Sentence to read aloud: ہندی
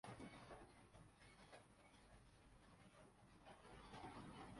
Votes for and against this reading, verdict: 0, 3, rejected